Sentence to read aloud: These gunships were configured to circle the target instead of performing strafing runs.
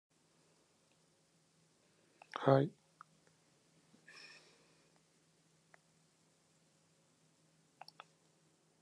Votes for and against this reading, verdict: 0, 2, rejected